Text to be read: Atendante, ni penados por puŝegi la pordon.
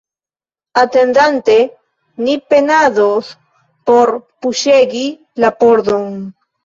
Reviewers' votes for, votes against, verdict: 2, 1, accepted